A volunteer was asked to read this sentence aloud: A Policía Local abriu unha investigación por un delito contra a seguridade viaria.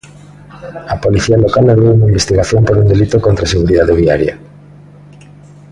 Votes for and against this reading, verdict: 0, 2, rejected